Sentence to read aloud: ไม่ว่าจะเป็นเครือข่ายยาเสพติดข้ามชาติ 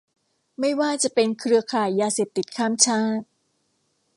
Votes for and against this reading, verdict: 2, 0, accepted